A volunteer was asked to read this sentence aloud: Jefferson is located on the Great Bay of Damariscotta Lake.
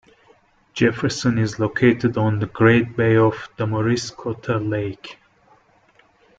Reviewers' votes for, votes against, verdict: 2, 1, accepted